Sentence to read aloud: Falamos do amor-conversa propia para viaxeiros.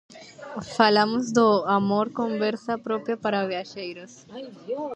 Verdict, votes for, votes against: rejected, 0, 2